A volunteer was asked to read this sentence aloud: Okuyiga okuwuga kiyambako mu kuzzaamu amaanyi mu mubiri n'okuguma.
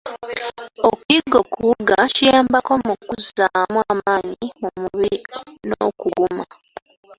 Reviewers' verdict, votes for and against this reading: accepted, 2, 0